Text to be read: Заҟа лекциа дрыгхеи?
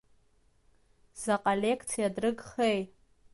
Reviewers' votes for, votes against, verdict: 2, 0, accepted